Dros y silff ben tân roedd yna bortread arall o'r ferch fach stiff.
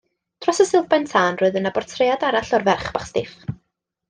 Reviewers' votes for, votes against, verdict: 2, 0, accepted